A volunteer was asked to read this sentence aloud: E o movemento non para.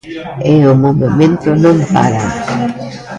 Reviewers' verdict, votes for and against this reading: rejected, 1, 2